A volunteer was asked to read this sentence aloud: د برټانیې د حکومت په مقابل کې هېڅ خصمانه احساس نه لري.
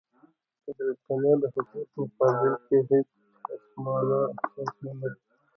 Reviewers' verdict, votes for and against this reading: rejected, 0, 2